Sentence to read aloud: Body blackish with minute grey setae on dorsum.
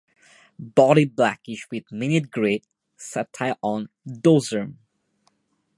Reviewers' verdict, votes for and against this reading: accepted, 2, 0